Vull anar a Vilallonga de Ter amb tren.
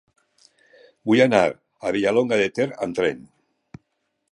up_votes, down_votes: 1, 2